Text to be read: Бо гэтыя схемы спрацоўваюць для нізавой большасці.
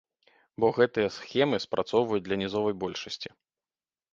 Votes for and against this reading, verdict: 1, 2, rejected